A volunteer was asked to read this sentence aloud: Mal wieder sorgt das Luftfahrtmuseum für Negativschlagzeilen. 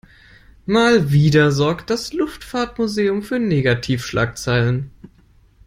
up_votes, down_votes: 2, 0